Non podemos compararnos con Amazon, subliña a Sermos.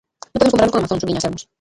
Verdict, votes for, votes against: rejected, 0, 2